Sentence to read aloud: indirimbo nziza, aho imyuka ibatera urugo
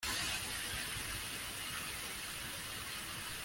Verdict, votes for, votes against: rejected, 0, 2